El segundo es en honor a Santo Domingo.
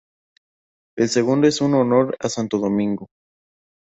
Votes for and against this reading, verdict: 2, 2, rejected